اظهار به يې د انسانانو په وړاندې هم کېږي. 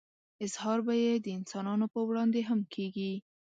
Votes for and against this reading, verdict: 2, 0, accepted